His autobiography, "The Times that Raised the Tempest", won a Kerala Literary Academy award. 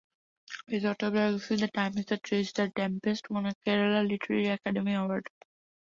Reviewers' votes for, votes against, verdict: 0, 2, rejected